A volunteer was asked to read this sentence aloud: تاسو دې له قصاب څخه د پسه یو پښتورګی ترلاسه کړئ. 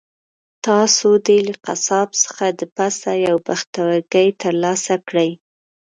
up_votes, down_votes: 1, 2